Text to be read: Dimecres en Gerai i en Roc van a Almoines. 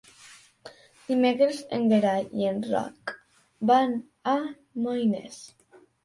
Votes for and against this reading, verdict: 0, 2, rejected